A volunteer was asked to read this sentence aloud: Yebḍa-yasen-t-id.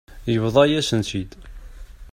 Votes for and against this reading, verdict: 0, 2, rejected